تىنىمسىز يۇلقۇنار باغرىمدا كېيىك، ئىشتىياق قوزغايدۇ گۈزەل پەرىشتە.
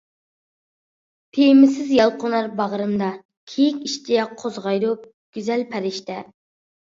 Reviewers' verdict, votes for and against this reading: rejected, 0, 2